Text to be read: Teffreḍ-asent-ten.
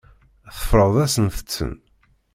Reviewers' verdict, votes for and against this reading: accepted, 2, 0